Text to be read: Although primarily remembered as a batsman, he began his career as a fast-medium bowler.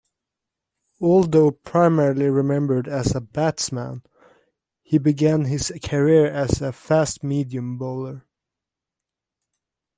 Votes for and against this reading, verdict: 2, 0, accepted